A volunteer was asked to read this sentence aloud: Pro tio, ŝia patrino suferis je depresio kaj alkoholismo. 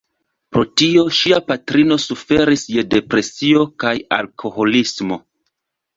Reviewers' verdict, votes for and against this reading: accepted, 2, 0